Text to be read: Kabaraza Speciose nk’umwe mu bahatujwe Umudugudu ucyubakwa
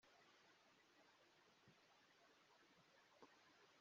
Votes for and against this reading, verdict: 0, 2, rejected